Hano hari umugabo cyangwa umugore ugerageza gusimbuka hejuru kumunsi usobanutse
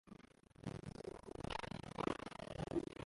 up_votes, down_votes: 0, 2